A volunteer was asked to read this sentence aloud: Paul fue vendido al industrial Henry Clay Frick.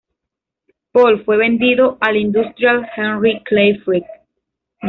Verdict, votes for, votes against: accepted, 2, 0